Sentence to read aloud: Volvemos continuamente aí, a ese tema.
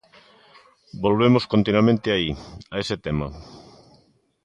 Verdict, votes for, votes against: accepted, 2, 0